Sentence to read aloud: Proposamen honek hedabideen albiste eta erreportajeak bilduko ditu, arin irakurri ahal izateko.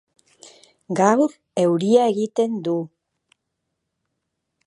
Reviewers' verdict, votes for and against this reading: rejected, 0, 2